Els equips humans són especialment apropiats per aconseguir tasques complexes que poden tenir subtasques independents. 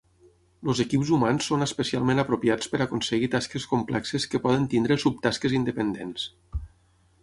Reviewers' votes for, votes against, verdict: 0, 6, rejected